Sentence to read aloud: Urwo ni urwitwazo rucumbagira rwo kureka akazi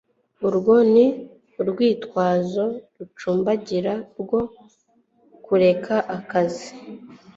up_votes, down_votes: 2, 0